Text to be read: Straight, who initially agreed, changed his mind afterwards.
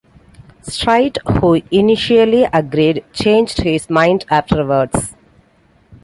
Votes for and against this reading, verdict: 2, 0, accepted